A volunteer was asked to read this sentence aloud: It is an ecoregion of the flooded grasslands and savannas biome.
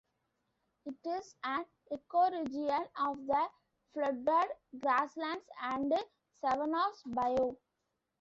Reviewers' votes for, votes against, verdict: 2, 3, rejected